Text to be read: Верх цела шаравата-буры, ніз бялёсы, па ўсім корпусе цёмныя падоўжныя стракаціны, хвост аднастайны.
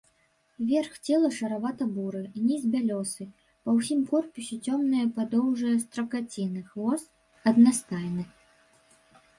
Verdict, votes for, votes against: rejected, 1, 2